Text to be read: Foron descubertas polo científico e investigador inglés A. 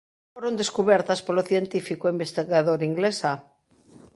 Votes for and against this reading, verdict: 1, 2, rejected